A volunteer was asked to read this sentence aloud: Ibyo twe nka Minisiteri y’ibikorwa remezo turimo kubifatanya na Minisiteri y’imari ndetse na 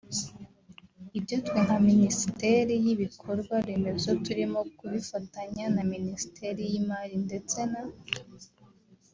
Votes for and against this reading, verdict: 1, 2, rejected